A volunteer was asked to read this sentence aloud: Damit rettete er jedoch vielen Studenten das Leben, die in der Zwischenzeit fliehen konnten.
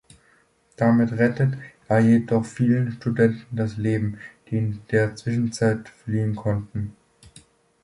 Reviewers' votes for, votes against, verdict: 0, 2, rejected